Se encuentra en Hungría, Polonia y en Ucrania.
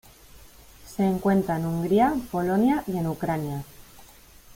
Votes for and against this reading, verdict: 0, 2, rejected